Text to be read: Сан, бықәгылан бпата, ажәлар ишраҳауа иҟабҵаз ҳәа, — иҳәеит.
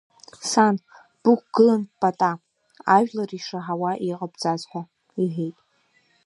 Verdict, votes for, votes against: rejected, 1, 2